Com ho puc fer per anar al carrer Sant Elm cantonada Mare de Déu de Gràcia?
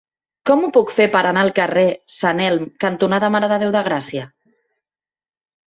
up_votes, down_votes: 3, 0